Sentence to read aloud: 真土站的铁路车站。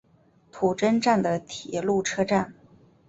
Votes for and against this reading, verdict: 0, 3, rejected